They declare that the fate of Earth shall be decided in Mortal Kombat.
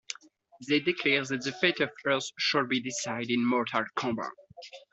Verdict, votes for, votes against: rejected, 0, 2